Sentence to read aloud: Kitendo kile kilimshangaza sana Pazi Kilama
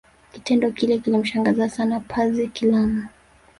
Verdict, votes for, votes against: rejected, 0, 2